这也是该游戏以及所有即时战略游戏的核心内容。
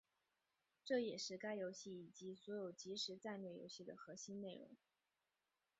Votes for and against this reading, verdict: 2, 1, accepted